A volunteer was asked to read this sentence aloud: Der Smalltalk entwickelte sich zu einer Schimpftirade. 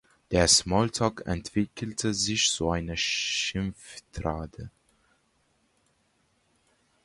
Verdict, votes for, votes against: rejected, 1, 3